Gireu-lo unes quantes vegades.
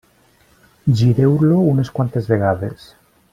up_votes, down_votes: 3, 0